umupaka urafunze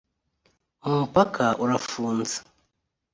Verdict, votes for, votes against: accepted, 2, 1